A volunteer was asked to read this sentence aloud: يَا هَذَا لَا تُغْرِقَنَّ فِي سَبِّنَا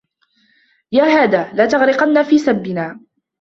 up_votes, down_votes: 1, 2